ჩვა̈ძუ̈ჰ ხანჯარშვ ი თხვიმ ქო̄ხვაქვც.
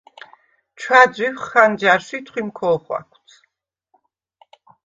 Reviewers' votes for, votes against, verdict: 2, 0, accepted